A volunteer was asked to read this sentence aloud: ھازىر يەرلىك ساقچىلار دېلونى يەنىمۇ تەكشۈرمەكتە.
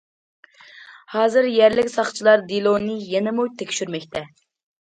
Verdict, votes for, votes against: accepted, 2, 0